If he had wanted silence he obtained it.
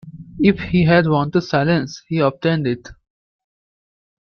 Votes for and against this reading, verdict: 2, 0, accepted